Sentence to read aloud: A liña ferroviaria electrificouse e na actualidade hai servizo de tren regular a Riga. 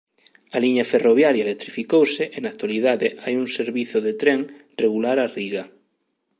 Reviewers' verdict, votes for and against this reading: rejected, 0, 2